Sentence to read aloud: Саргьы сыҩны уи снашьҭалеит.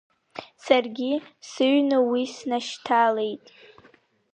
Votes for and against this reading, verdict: 1, 2, rejected